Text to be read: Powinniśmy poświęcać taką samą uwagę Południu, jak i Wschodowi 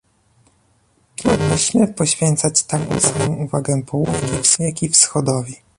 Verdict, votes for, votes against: rejected, 0, 2